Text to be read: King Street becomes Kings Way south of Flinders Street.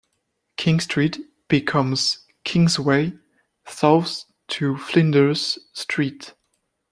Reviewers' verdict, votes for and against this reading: rejected, 0, 2